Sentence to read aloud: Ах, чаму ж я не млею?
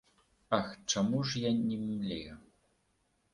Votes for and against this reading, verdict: 2, 0, accepted